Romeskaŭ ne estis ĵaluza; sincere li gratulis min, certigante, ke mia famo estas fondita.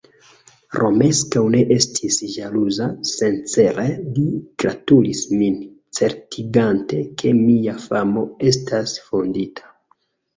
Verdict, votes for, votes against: accepted, 2, 0